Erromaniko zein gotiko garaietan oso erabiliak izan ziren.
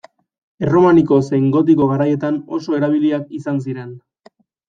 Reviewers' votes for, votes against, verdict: 2, 0, accepted